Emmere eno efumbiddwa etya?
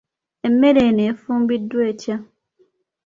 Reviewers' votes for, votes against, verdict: 2, 0, accepted